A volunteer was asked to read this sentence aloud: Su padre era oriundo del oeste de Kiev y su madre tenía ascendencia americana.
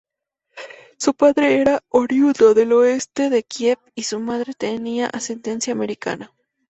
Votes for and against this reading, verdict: 4, 0, accepted